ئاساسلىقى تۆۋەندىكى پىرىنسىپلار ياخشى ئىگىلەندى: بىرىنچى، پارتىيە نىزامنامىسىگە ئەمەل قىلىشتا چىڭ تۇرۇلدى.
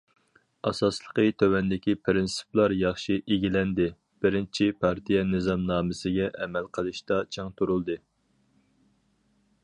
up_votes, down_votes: 4, 0